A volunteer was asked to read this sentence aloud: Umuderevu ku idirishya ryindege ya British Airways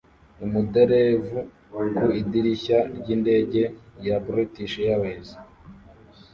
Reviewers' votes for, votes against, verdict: 1, 2, rejected